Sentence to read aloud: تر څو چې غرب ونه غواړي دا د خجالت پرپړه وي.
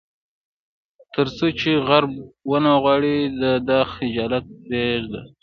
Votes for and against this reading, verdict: 1, 2, rejected